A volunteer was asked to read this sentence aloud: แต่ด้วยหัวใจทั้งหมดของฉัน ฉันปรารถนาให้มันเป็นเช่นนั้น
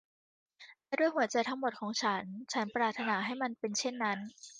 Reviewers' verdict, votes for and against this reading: rejected, 0, 2